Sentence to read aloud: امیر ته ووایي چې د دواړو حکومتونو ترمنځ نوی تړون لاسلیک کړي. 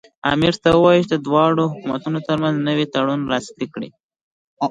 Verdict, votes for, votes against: accepted, 2, 1